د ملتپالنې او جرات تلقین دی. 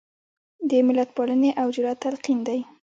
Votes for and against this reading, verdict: 1, 3, rejected